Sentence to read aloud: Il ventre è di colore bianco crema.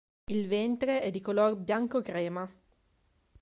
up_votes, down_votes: 2, 0